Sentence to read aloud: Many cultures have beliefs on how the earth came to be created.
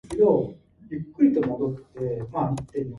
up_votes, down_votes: 0, 2